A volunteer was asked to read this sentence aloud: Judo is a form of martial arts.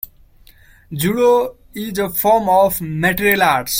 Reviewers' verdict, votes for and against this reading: rejected, 0, 2